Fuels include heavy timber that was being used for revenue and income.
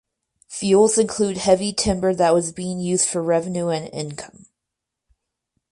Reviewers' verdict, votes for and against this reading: rejected, 0, 2